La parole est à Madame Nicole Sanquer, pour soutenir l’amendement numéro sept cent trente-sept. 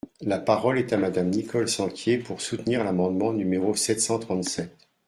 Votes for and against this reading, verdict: 0, 2, rejected